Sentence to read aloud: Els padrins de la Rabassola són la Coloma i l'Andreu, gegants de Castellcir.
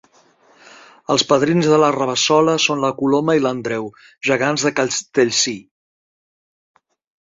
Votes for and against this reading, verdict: 2, 0, accepted